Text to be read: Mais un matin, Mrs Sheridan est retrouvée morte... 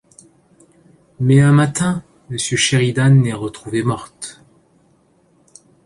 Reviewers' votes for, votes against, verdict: 0, 2, rejected